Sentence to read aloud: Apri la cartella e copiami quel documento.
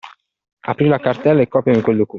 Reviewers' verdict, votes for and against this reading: rejected, 1, 2